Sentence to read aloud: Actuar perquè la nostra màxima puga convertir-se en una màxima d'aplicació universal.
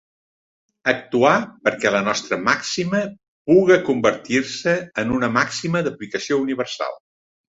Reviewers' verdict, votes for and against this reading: accepted, 2, 0